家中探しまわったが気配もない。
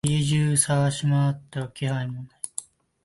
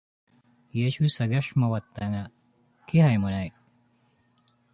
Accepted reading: second